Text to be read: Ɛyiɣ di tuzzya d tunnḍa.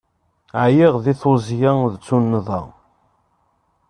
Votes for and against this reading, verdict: 2, 0, accepted